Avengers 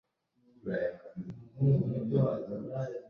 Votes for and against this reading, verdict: 0, 2, rejected